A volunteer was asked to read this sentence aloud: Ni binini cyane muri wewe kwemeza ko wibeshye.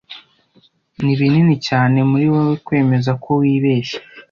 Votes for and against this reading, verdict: 2, 0, accepted